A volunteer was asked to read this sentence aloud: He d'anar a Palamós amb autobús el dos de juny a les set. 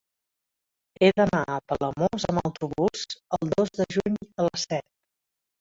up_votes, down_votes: 1, 2